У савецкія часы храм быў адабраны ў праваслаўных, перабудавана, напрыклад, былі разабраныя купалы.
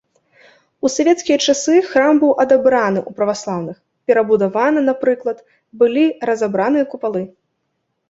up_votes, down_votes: 2, 0